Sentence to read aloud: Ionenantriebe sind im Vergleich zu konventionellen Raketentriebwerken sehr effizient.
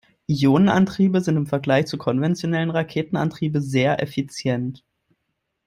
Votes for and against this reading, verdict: 1, 2, rejected